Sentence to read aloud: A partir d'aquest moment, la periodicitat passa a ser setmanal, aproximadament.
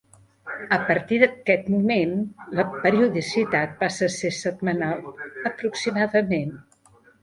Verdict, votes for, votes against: accepted, 2, 1